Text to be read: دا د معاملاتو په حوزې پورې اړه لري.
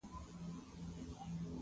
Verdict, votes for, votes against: rejected, 0, 2